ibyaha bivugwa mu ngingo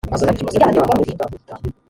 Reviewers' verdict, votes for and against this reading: rejected, 0, 3